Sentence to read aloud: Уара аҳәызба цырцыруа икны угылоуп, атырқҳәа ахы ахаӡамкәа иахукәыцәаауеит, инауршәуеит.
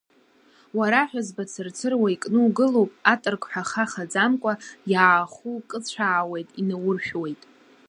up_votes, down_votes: 0, 2